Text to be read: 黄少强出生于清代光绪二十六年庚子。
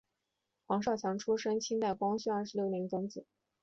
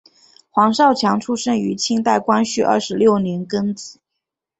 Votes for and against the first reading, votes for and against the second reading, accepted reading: 1, 3, 7, 0, second